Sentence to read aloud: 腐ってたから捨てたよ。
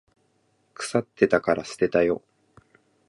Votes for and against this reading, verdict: 2, 0, accepted